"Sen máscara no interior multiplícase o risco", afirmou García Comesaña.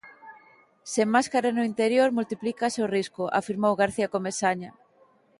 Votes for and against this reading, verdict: 2, 0, accepted